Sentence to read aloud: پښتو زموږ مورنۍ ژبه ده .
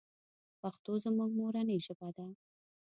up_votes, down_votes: 0, 2